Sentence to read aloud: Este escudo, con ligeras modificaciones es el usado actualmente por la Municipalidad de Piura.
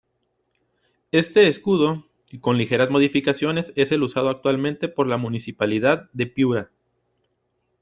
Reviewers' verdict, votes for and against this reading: accepted, 2, 0